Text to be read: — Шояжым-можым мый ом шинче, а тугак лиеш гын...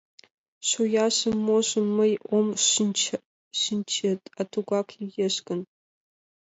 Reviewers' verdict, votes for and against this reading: rejected, 0, 2